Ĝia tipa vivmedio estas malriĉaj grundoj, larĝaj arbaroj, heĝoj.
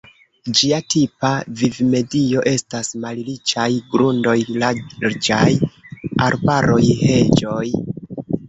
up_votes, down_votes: 1, 2